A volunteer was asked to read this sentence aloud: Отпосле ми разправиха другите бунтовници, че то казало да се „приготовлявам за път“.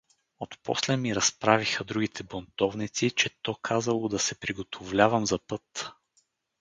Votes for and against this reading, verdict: 2, 2, rejected